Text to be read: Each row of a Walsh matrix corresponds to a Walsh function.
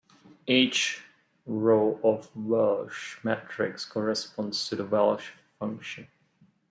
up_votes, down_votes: 2, 0